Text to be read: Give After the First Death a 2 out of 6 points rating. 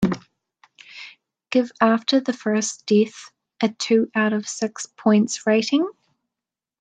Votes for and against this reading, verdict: 0, 2, rejected